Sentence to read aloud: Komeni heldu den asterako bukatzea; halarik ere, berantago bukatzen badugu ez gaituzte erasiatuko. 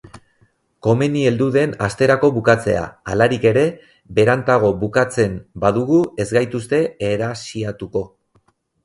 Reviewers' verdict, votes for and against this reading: rejected, 2, 2